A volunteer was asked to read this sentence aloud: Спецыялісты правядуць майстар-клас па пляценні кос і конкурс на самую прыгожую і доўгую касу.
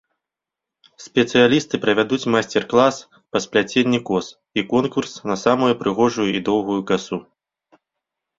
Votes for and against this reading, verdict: 0, 2, rejected